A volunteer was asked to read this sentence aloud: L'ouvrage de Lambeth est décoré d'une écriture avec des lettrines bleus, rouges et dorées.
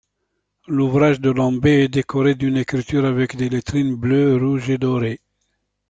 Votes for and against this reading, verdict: 2, 1, accepted